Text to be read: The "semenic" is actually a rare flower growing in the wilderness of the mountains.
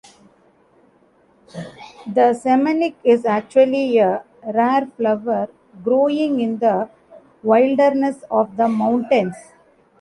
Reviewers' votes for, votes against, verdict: 0, 2, rejected